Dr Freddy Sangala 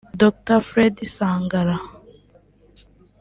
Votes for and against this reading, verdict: 1, 2, rejected